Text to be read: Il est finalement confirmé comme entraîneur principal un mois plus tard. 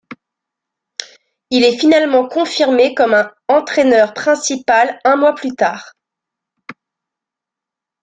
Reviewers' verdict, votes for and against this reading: rejected, 0, 2